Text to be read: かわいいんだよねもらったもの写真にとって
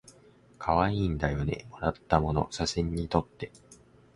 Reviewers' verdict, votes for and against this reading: accepted, 2, 1